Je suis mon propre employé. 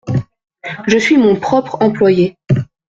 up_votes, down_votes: 2, 0